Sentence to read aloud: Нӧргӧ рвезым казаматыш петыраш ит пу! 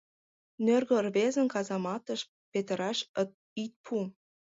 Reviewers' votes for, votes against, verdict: 1, 2, rejected